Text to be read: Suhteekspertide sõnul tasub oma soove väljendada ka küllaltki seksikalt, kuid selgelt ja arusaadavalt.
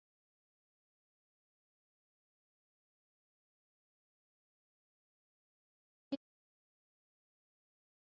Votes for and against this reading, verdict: 0, 2, rejected